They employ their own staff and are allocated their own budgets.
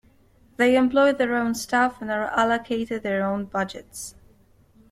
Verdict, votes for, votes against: accepted, 2, 0